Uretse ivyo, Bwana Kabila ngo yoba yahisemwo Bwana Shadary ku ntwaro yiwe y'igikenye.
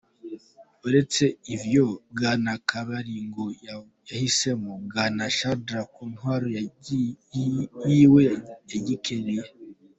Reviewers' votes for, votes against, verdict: 1, 3, rejected